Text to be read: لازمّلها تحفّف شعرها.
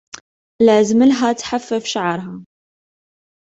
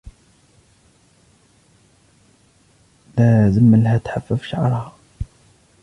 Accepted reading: first